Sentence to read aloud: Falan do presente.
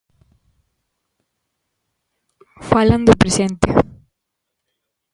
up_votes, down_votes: 2, 0